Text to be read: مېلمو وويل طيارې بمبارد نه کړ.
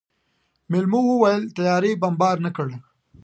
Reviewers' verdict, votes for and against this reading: accepted, 2, 0